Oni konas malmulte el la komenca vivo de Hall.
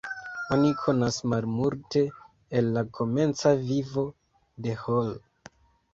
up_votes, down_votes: 0, 2